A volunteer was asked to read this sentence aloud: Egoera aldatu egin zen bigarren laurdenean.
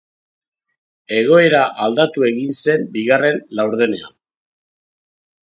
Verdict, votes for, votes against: accepted, 2, 0